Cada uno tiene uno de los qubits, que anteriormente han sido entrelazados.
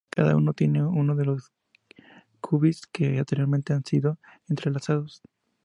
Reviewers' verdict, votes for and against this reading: accepted, 2, 0